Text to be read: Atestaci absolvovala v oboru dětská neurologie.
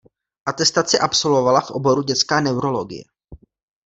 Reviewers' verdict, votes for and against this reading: rejected, 1, 2